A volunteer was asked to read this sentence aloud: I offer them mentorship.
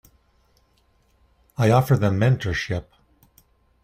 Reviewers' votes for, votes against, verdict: 2, 0, accepted